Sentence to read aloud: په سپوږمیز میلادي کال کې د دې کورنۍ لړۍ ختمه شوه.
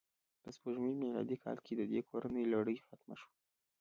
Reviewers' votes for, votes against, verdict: 1, 2, rejected